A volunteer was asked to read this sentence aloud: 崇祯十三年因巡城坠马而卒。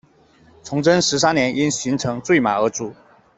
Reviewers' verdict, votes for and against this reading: accepted, 2, 0